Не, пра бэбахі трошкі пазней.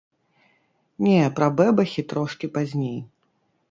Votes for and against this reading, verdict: 2, 0, accepted